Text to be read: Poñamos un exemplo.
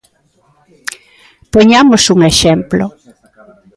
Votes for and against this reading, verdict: 2, 1, accepted